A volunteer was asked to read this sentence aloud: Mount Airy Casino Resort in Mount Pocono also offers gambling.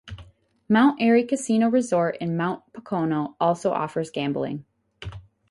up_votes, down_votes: 4, 0